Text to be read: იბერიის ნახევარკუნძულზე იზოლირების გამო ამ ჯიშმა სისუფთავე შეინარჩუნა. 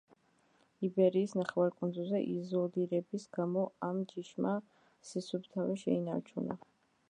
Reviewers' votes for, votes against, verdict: 1, 2, rejected